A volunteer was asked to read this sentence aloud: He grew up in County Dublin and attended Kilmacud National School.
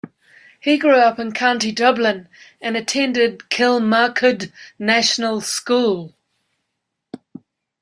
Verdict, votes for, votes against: accepted, 3, 0